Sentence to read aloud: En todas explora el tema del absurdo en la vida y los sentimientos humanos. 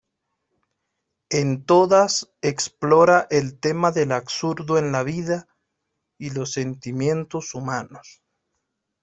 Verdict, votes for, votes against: accepted, 2, 0